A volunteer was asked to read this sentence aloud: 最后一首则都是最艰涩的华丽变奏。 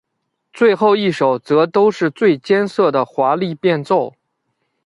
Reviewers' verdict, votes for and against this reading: accepted, 2, 0